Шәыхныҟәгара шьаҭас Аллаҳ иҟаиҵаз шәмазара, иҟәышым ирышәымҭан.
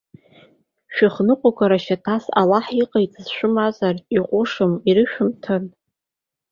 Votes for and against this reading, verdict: 1, 2, rejected